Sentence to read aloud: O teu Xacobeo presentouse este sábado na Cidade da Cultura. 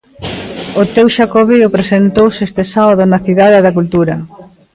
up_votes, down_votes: 1, 2